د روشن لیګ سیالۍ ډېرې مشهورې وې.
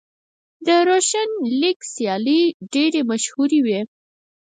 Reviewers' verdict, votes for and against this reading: rejected, 2, 4